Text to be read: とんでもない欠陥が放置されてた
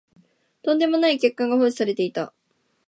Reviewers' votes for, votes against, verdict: 2, 0, accepted